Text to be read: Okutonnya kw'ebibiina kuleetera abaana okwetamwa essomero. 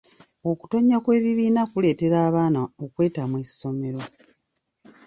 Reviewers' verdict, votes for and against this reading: rejected, 0, 2